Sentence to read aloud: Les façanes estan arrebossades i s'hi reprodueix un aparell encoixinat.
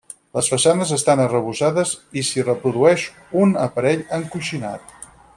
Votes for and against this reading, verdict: 4, 0, accepted